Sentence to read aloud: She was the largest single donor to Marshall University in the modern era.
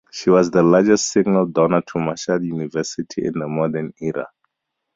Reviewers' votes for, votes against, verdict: 2, 0, accepted